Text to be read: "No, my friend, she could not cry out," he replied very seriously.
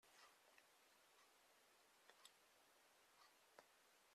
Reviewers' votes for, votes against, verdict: 0, 2, rejected